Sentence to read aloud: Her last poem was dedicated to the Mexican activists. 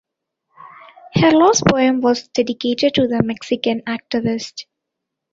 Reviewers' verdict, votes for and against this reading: rejected, 1, 2